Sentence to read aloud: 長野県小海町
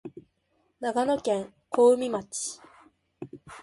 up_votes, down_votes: 2, 0